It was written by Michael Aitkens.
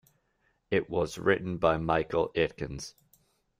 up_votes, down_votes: 2, 0